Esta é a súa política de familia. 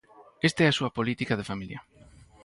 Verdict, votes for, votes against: accepted, 4, 0